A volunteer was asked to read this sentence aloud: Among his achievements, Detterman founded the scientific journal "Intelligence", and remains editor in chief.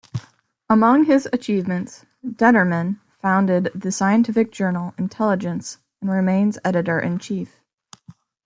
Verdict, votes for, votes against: accepted, 2, 0